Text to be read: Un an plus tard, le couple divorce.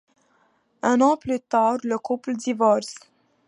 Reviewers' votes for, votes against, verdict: 2, 0, accepted